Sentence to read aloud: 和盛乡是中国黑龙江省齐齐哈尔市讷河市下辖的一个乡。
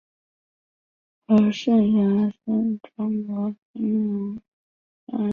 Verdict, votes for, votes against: rejected, 1, 3